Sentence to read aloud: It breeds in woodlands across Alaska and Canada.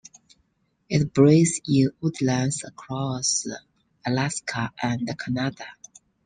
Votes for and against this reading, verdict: 2, 1, accepted